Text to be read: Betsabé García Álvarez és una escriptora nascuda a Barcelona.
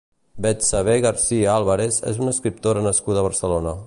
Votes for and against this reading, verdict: 0, 2, rejected